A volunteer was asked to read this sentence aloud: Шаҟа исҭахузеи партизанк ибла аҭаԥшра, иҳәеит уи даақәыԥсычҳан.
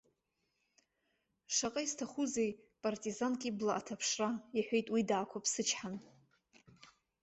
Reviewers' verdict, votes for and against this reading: accepted, 3, 0